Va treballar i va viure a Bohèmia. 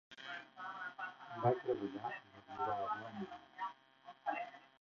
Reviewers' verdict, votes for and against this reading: rejected, 0, 2